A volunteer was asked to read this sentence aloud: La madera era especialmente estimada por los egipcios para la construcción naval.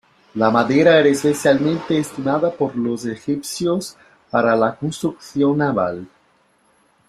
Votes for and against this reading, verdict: 2, 1, accepted